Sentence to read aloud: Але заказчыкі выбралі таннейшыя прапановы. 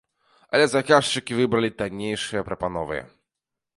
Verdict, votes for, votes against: accepted, 2, 0